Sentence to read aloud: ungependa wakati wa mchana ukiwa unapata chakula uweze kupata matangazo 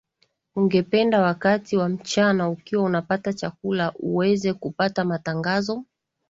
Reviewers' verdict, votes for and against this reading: accepted, 5, 0